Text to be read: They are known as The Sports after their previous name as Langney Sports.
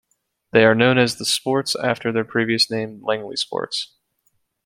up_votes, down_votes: 2, 0